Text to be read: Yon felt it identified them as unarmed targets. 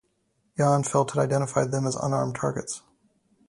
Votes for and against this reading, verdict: 4, 0, accepted